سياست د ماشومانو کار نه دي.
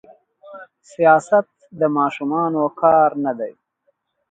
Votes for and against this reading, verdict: 2, 3, rejected